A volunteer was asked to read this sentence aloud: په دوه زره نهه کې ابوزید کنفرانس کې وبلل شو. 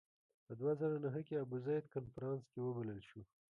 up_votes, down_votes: 1, 2